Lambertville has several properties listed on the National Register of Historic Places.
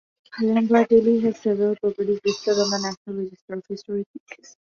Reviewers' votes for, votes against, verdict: 1, 2, rejected